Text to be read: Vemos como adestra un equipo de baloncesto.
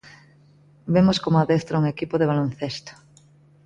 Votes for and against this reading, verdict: 2, 0, accepted